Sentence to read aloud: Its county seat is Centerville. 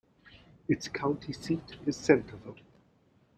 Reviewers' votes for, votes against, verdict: 2, 0, accepted